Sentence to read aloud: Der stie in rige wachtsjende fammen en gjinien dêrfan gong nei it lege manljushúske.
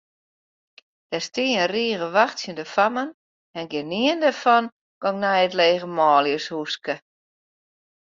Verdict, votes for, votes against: accepted, 2, 0